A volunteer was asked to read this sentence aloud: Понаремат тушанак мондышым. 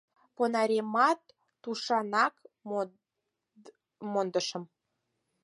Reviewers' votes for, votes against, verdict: 2, 4, rejected